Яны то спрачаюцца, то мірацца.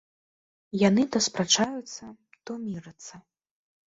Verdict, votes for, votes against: rejected, 1, 4